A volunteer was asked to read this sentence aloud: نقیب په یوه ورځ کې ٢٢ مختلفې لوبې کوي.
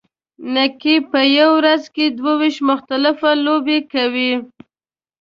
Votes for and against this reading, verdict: 0, 2, rejected